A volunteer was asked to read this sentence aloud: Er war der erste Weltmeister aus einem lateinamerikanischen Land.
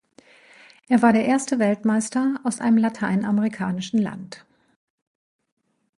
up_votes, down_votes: 2, 0